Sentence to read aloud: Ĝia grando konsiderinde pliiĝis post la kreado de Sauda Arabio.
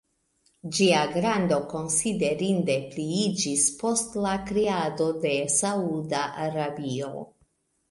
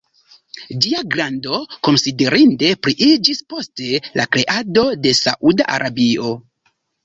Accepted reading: first